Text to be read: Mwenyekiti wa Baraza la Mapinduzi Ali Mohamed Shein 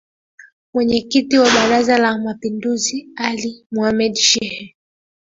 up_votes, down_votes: 2, 3